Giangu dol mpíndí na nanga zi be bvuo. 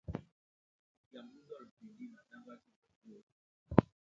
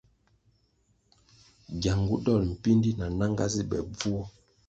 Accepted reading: second